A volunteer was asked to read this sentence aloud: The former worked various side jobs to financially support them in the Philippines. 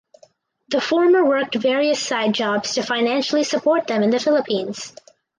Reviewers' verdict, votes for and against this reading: accepted, 2, 0